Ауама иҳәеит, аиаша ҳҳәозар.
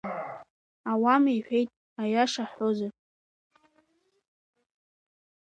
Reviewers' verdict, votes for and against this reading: rejected, 1, 2